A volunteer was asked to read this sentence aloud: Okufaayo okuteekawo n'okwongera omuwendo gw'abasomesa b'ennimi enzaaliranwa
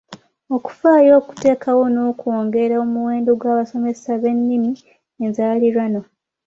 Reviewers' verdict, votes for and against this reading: accepted, 2, 0